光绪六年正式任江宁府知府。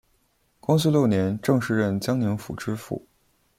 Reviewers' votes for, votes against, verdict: 3, 0, accepted